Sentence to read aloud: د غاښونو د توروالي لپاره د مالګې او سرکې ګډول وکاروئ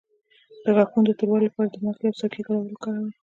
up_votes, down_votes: 2, 1